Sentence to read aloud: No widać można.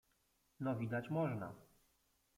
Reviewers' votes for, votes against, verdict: 0, 2, rejected